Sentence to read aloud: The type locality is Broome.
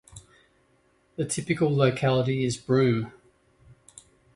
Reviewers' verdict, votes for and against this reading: rejected, 0, 2